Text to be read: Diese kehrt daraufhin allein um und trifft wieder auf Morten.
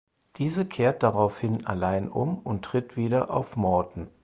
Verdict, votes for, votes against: rejected, 2, 4